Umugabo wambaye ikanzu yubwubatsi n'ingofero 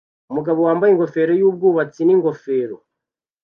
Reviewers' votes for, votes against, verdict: 0, 2, rejected